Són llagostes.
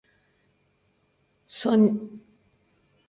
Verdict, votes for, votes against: rejected, 0, 2